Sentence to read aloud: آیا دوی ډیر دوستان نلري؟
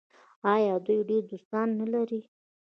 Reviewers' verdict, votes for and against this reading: accepted, 2, 0